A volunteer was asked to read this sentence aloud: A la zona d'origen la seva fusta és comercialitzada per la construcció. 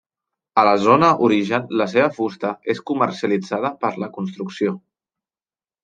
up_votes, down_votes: 1, 2